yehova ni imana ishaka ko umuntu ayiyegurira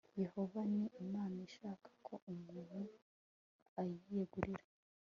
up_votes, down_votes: 2, 0